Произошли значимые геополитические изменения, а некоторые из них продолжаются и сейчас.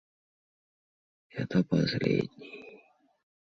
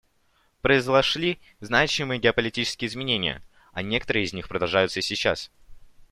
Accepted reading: second